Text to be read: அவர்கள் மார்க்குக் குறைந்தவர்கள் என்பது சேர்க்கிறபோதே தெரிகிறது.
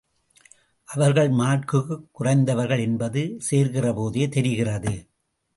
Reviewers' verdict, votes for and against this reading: accepted, 2, 0